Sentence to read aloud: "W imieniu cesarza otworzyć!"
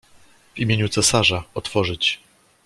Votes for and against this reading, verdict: 2, 0, accepted